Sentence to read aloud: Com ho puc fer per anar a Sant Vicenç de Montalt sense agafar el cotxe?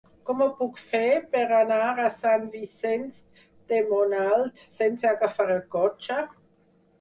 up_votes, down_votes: 2, 4